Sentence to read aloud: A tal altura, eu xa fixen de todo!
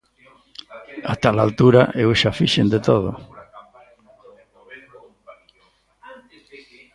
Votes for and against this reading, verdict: 0, 2, rejected